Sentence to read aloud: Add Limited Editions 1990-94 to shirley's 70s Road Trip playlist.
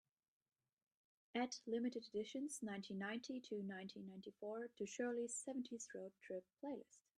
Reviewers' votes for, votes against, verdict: 0, 2, rejected